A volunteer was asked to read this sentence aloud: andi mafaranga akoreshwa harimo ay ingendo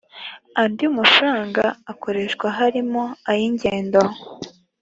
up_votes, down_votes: 2, 0